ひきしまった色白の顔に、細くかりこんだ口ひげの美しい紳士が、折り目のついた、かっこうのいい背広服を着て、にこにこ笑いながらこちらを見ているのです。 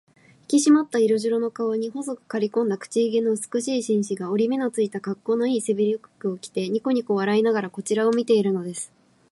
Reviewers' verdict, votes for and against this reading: rejected, 0, 2